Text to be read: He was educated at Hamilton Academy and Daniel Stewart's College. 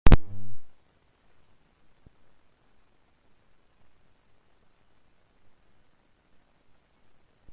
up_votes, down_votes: 0, 2